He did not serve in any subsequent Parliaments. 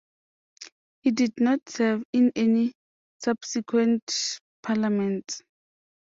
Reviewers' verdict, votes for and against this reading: accepted, 2, 0